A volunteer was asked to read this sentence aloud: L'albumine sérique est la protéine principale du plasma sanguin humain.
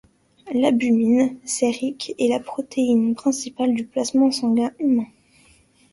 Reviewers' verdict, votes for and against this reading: accepted, 2, 0